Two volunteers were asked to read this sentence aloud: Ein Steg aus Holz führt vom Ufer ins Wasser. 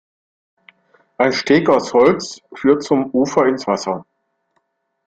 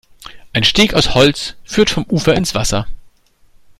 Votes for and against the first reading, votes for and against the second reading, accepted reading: 0, 2, 2, 0, second